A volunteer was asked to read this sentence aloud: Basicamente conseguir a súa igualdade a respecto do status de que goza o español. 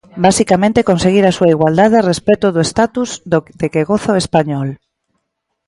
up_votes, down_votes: 0, 2